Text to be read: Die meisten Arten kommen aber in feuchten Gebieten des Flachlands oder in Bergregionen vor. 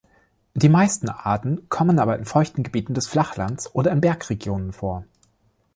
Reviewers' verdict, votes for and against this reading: accepted, 2, 0